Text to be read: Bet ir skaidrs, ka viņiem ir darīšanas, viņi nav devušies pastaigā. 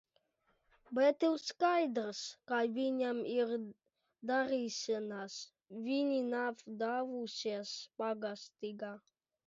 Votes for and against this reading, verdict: 0, 2, rejected